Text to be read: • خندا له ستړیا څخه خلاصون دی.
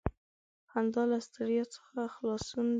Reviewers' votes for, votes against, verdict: 1, 2, rejected